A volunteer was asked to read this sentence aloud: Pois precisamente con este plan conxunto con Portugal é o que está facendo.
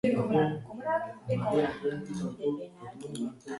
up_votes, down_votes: 0, 2